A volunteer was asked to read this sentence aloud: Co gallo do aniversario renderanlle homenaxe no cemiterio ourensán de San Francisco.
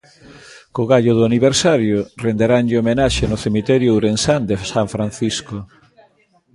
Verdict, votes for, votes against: rejected, 1, 2